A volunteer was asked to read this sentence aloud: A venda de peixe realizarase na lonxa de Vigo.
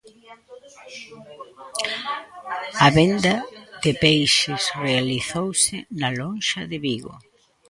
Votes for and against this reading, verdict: 0, 2, rejected